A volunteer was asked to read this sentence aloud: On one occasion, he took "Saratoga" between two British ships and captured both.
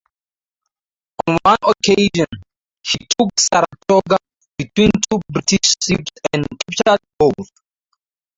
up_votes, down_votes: 2, 2